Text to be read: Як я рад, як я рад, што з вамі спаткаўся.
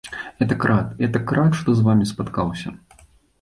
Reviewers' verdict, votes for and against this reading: rejected, 1, 2